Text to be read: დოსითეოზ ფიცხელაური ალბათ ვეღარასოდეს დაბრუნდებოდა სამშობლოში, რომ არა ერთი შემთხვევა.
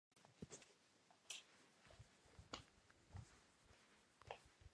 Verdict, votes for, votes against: rejected, 0, 2